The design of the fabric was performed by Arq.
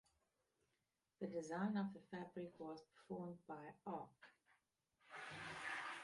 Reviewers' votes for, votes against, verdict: 0, 2, rejected